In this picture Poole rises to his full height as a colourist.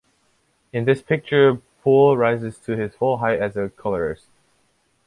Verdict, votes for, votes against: accepted, 2, 1